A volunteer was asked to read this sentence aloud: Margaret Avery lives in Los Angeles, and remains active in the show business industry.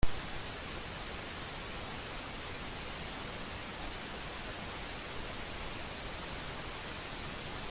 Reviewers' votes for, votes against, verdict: 0, 2, rejected